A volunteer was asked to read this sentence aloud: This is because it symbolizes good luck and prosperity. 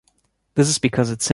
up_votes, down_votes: 2, 0